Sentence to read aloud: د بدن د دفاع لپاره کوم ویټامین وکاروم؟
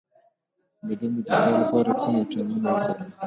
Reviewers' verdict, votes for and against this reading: rejected, 0, 2